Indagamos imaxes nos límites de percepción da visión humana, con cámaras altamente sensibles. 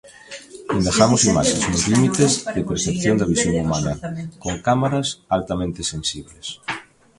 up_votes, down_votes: 1, 2